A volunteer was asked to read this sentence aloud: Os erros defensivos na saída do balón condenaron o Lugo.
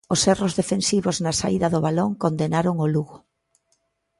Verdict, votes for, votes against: accepted, 2, 0